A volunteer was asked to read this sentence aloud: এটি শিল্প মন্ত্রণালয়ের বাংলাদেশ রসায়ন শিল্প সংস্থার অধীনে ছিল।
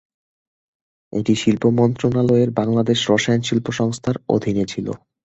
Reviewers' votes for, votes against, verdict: 2, 0, accepted